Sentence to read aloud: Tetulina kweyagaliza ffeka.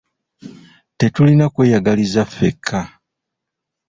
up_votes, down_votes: 2, 0